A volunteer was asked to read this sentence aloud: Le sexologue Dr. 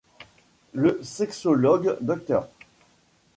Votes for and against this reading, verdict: 1, 2, rejected